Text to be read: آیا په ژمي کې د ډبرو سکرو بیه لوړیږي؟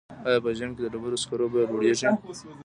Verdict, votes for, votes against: rejected, 1, 2